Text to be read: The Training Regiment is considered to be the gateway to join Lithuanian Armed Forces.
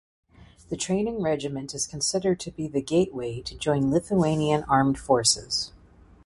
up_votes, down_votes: 2, 0